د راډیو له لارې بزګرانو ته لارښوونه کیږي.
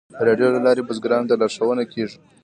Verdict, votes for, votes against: rejected, 1, 2